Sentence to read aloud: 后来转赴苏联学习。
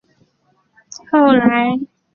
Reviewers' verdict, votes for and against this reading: rejected, 0, 4